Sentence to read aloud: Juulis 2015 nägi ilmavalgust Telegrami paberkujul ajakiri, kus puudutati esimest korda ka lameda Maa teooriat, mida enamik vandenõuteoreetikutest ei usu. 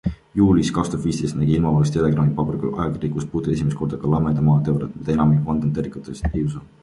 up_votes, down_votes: 0, 2